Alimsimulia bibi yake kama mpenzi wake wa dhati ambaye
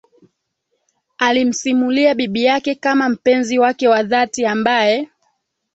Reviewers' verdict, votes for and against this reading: rejected, 2, 3